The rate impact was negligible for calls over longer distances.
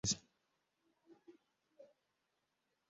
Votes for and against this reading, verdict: 0, 2, rejected